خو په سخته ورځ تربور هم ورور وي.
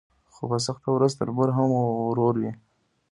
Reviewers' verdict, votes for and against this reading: accepted, 2, 0